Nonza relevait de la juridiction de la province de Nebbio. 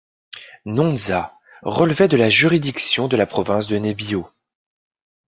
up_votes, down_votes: 2, 1